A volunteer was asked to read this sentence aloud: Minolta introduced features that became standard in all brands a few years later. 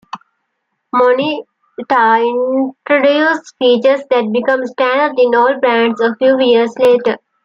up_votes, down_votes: 2, 1